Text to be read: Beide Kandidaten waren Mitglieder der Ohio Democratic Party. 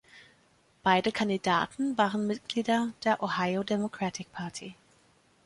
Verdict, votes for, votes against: accepted, 2, 0